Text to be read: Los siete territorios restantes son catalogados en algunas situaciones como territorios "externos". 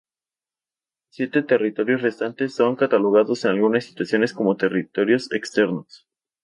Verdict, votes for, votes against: rejected, 0, 2